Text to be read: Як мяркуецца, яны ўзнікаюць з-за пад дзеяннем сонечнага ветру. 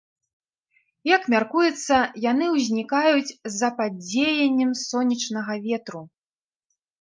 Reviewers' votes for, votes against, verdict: 2, 0, accepted